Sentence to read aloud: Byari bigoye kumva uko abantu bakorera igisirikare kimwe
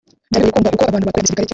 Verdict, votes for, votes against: rejected, 0, 3